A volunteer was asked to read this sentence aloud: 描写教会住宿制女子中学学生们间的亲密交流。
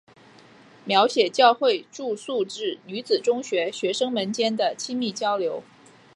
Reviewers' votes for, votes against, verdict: 2, 0, accepted